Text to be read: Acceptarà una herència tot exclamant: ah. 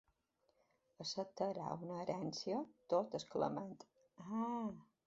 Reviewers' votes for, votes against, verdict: 3, 2, accepted